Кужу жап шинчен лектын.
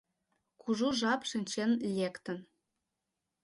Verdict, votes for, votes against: accepted, 2, 0